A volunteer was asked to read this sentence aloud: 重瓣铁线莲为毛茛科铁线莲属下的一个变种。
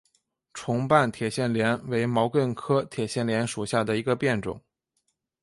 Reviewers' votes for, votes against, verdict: 3, 0, accepted